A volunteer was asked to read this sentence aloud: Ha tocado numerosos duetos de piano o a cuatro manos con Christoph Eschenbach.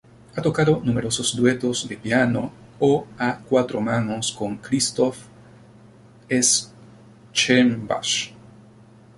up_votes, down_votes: 2, 0